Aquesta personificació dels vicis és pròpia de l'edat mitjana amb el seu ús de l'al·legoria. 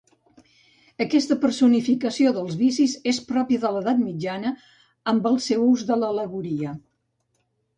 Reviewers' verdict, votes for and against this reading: accepted, 2, 0